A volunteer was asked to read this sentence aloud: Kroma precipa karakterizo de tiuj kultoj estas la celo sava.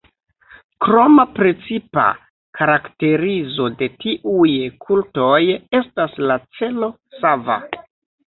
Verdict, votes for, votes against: rejected, 1, 2